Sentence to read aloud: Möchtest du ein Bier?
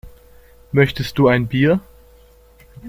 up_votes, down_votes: 2, 0